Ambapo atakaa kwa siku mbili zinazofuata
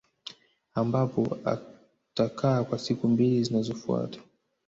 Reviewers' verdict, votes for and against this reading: rejected, 1, 2